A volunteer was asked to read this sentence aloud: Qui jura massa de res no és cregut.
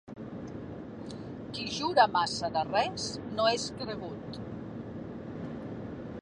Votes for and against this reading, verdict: 1, 2, rejected